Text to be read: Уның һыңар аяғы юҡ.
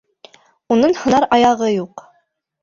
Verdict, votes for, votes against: rejected, 1, 2